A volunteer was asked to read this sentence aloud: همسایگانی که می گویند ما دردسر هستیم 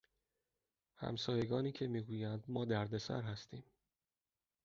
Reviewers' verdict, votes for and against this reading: accepted, 2, 0